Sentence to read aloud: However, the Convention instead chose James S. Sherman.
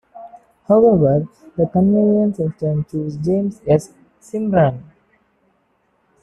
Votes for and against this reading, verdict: 0, 2, rejected